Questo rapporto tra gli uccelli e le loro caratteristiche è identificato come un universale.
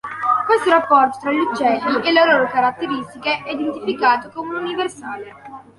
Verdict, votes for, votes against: rejected, 0, 2